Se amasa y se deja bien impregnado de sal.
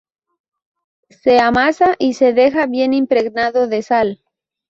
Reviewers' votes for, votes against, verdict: 2, 0, accepted